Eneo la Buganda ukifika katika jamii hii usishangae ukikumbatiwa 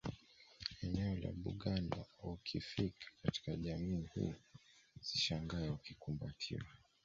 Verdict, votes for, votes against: accepted, 2, 1